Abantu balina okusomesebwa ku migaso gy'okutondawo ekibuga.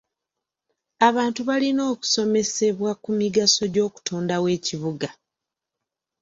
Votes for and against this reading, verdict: 2, 0, accepted